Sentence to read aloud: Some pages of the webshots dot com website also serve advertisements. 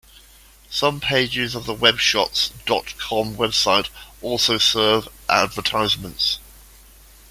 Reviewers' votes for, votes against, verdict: 2, 0, accepted